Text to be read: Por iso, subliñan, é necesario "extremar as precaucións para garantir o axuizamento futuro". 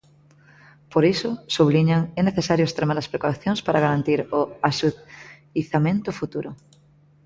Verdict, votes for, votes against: rejected, 0, 2